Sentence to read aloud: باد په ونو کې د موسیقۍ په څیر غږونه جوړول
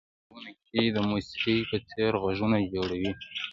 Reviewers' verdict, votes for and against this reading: rejected, 1, 2